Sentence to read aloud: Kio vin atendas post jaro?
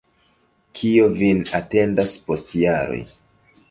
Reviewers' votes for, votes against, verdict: 1, 2, rejected